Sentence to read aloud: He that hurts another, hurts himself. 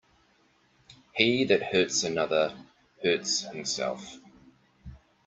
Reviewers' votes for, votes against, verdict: 2, 0, accepted